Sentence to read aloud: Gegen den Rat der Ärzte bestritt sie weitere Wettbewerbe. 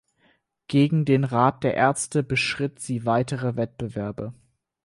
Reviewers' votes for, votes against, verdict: 0, 4, rejected